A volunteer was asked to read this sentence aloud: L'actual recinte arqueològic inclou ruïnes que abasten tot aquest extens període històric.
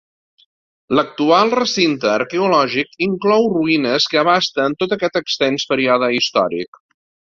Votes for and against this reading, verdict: 2, 0, accepted